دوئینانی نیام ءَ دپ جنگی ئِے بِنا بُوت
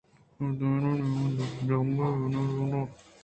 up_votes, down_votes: 2, 0